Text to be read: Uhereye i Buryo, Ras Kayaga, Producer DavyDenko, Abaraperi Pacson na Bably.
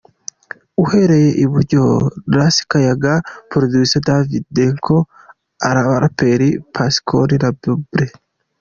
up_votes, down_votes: 2, 1